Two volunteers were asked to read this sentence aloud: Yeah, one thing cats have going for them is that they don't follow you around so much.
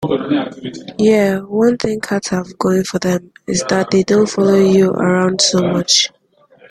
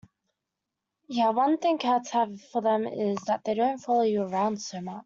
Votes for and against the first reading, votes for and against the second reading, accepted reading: 2, 0, 0, 2, first